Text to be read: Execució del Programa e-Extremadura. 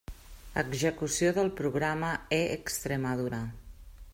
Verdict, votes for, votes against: rejected, 1, 2